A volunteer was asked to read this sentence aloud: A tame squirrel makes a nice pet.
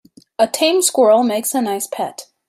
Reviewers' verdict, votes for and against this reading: accepted, 2, 0